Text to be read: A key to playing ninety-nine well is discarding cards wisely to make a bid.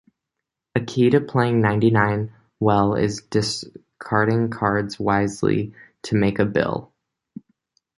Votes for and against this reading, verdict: 0, 2, rejected